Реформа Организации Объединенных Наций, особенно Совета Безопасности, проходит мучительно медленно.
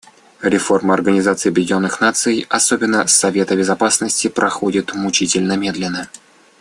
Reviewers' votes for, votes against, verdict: 2, 0, accepted